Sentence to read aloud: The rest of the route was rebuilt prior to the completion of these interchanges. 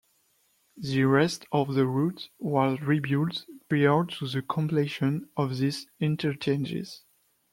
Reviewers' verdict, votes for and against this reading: rejected, 0, 2